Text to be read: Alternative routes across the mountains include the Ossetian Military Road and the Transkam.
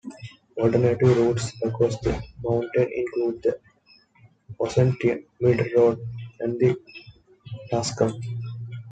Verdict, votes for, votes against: rejected, 0, 2